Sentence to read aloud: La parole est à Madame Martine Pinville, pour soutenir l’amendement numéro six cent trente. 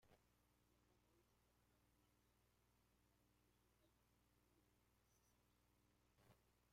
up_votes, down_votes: 0, 2